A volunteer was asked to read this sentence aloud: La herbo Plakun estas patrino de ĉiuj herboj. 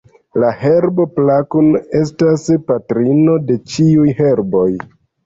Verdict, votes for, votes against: accepted, 2, 1